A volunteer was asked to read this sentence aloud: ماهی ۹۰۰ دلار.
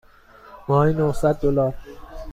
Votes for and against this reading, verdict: 0, 2, rejected